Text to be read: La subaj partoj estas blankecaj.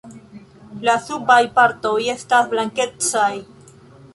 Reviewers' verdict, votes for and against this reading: accepted, 2, 0